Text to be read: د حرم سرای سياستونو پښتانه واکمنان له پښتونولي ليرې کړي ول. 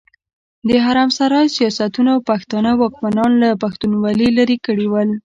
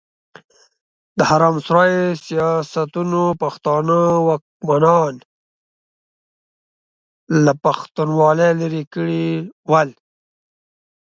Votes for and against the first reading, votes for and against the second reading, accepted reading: 0, 2, 2, 0, second